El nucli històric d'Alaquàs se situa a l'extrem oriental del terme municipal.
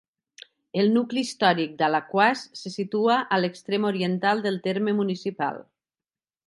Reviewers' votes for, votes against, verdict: 3, 0, accepted